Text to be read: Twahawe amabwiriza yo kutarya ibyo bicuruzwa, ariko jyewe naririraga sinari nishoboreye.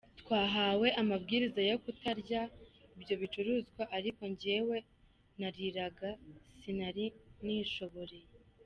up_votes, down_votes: 0, 2